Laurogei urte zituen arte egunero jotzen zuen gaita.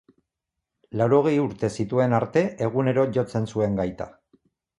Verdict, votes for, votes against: accepted, 2, 0